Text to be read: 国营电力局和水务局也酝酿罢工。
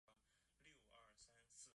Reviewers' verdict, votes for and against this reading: rejected, 0, 3